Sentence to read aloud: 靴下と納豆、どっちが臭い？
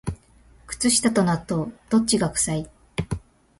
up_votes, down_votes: 2, 0